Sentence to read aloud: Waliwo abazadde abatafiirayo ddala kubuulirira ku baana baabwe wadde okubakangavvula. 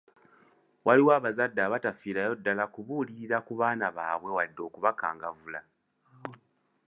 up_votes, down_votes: 2, 0